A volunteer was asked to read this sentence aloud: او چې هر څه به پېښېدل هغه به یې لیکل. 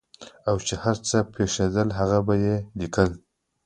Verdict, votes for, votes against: accepted, 2, 0